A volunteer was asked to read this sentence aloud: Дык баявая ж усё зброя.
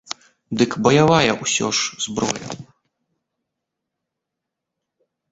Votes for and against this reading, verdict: 0, 2, rejected